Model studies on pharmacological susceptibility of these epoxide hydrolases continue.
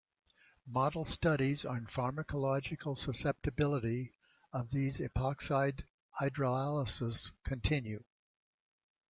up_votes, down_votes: 1, 2